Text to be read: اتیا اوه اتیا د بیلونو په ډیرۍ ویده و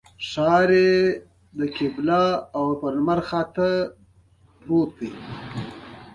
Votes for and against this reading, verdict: 1, 2, rejected